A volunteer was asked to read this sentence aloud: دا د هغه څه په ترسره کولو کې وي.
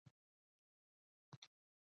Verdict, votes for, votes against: rejected, 0, 2